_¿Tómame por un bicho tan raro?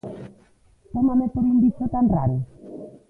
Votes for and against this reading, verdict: 1, 2, rejected